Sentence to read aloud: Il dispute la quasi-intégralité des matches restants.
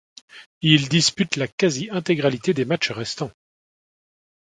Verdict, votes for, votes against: accepted, 2, 0